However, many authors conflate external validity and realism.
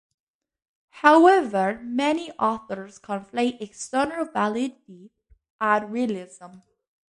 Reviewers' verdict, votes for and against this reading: accepted, 2, 0